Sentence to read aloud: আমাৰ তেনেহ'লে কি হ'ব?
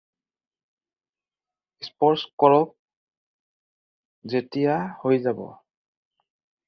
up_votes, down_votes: 0, 4